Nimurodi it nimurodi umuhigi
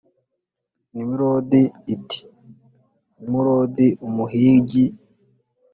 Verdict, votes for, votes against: accepted, 2, 0